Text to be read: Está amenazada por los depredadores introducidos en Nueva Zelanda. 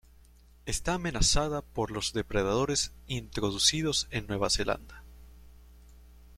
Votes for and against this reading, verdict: 2, 0, accepted